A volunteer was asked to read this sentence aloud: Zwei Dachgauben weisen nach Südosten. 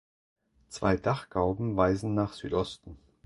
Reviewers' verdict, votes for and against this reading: accepted, 2, 0